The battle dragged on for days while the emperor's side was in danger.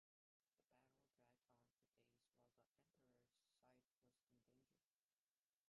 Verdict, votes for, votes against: rejected, 0, 2